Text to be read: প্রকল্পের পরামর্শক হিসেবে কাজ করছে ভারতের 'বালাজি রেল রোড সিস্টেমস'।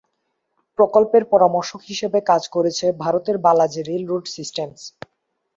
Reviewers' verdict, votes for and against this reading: rejected, 0, 2